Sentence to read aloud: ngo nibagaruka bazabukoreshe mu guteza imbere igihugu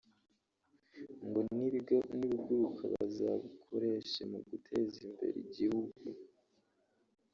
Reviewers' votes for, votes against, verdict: 0, 3, rejected